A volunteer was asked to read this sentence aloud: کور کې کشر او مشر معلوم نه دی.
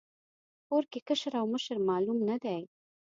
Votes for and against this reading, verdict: 2, 0, accepted